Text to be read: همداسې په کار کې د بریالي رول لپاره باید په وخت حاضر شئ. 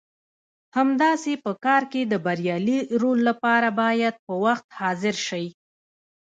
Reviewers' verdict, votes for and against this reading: rejected, 0, 2